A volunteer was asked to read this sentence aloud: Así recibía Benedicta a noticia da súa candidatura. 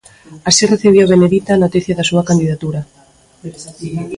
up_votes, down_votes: 0, 2